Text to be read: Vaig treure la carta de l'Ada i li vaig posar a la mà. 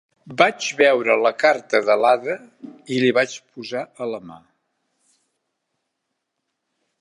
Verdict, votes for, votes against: rejected, 0, 2